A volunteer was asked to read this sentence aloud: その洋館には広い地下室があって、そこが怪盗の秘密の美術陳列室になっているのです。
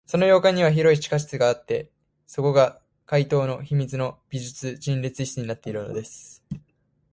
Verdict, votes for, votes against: accepted, 2, 0